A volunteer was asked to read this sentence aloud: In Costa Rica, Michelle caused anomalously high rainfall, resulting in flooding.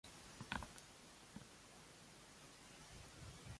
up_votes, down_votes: 0, 2